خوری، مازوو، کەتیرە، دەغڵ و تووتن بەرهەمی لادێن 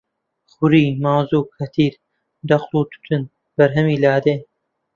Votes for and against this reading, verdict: 1, 3, rejected